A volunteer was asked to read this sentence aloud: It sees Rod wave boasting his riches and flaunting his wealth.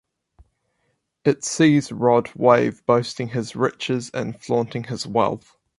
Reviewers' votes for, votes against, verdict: 4, 0, accepted